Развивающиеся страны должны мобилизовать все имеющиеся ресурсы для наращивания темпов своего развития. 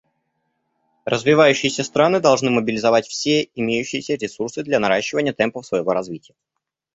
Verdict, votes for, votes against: accepted, 2, 0